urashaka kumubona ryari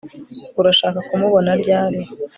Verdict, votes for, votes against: accepted, 2, 0